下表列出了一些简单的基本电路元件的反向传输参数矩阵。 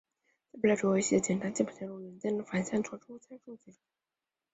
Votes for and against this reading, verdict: 0, 4, rejected